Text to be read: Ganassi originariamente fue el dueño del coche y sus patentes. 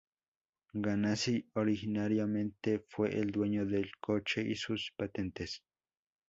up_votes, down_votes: 2, 0